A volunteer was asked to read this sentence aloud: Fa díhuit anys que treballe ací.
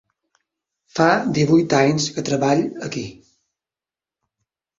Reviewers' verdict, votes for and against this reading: rejected, 0, 3